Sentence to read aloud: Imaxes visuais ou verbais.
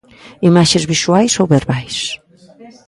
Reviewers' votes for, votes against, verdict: 1, 2, rejected